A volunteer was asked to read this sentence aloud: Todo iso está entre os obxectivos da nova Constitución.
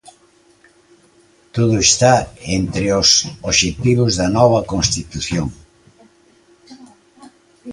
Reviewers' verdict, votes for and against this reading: rejected, 0, 2